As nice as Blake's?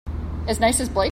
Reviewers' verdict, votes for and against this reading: rejected, 1, 2